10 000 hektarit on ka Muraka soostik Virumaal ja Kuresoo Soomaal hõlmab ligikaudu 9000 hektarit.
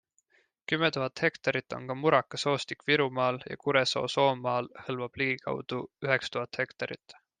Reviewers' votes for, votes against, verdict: 0, 2, rejected